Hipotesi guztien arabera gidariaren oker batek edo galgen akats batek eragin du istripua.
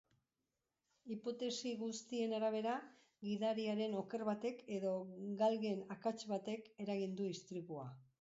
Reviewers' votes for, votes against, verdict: 2, 0, accepted